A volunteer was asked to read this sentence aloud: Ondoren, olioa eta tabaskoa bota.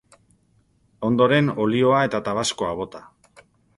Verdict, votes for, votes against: accepted, 2, 0